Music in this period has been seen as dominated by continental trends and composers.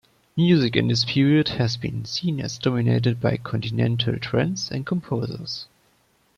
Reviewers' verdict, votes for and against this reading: accepted, 2, 0